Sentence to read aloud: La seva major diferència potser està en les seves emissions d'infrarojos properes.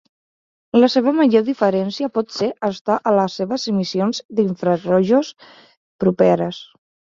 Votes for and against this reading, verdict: 1, 2, rejected